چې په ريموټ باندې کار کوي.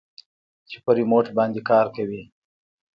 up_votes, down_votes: 2, 0